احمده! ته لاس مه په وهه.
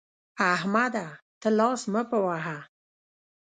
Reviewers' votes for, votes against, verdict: 0, 2, rejected